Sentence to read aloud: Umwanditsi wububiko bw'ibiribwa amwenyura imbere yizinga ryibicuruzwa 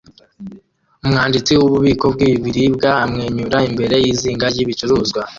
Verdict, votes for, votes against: rejected, 1, 2